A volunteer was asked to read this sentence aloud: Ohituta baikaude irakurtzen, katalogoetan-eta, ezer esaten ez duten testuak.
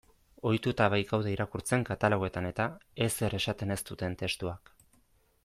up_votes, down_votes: 2, 0